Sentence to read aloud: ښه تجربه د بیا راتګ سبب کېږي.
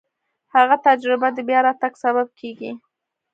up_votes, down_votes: 1, 2